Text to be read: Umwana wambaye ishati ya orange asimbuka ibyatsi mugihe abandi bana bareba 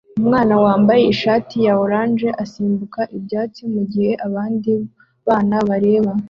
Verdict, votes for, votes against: accepted, 2, 0